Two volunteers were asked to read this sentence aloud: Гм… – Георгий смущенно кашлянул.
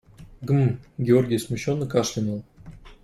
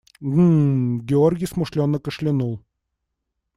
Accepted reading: first